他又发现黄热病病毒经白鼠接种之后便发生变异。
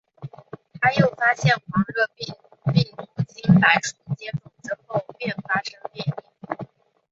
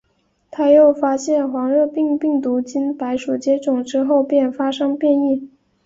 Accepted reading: second